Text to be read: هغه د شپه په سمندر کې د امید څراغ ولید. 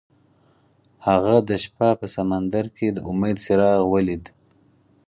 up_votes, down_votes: 4, 0